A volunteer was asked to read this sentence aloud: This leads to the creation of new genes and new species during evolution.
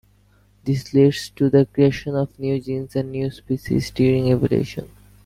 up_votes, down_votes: 2, 1